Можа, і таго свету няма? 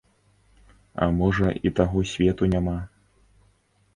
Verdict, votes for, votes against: rejected, 1, 2